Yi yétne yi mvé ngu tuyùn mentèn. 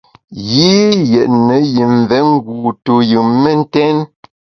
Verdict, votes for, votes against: accepted, 2, 0